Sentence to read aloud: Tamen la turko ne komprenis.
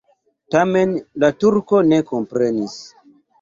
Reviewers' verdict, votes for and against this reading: accepted, 2, 1